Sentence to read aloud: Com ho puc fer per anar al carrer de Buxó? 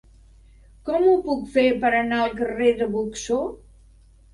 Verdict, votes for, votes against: rejected, 1, 2